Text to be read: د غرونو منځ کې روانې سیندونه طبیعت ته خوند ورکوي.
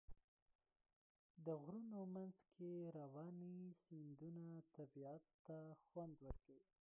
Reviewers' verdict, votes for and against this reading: rejected, 1, 2